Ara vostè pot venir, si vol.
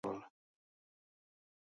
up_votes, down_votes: 0, 2